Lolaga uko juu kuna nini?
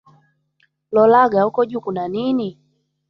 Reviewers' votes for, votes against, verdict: 1, 2, rejected